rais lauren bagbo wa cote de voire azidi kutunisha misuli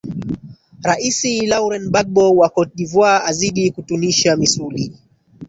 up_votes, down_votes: 1, 2